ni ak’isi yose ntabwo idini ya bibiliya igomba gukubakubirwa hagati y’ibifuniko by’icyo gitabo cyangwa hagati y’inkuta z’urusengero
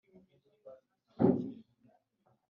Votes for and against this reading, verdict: 2, 4, rejected